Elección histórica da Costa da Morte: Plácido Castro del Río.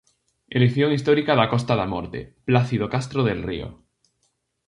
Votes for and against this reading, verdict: 2, 0, accepted